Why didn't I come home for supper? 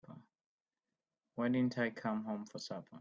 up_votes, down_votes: 2, 0